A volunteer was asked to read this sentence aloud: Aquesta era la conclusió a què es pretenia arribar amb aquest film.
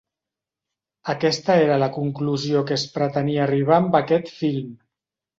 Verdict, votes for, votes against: rejected, 1, 2